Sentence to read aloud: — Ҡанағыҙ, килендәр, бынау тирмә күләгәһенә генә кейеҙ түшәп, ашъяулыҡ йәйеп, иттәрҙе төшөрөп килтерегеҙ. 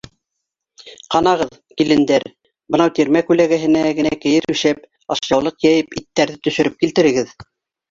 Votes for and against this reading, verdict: 4, 0, accepted